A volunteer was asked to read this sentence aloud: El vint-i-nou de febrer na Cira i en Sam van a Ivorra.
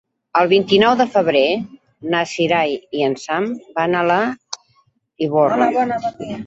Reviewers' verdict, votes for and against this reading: rejected, 0, 2